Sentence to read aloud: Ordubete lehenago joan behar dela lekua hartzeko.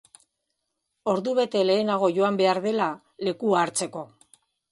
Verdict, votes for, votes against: accepted, 2, 0